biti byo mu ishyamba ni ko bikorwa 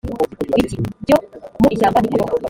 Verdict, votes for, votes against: rejected, 0, 2